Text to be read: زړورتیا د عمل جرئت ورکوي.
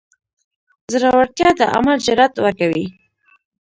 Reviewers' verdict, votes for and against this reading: rejected, 1, 2